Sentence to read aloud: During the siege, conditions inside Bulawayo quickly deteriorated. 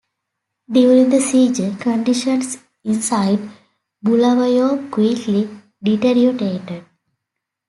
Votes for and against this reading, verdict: 0, 2, rejected